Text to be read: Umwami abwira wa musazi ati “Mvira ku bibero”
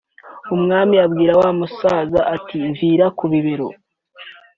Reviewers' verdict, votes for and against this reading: accepted, 2, 0